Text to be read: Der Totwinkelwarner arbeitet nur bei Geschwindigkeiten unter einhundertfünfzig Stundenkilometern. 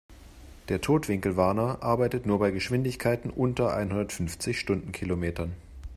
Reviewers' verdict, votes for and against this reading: accepted, 2, 0